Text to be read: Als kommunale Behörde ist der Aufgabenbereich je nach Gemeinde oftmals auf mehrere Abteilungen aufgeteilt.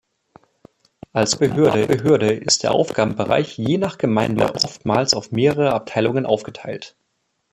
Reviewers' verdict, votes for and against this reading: rejected, 0, 2